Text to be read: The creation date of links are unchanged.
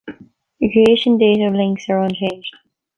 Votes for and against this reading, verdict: 0, 2, rejected